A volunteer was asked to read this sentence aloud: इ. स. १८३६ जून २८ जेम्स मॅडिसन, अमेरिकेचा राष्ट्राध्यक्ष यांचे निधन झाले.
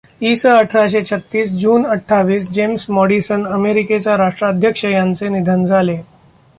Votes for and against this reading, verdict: 0, 2, rejected